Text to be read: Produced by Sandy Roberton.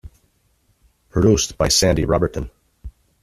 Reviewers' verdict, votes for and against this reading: accepted, 2, 0